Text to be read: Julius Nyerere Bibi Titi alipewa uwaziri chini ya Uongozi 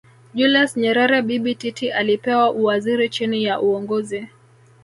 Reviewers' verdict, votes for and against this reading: accepted, 2, 0